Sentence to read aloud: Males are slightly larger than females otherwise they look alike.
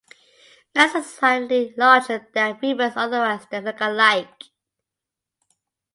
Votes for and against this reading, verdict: 0, 2, rejected